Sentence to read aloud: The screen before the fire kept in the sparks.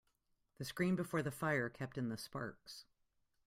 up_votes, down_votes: 2, 0